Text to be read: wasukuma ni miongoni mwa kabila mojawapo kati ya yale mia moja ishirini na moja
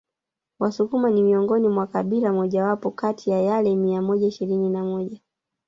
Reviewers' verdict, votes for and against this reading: rejected, 1, 2